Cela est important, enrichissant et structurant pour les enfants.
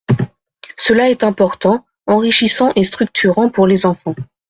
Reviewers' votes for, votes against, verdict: 2, 0, accepted